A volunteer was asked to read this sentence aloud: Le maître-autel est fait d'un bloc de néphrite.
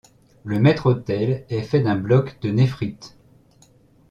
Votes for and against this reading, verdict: 2, 0, accepted